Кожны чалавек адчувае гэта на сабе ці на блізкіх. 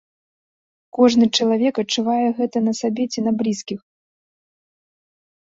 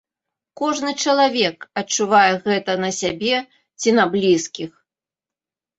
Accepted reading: first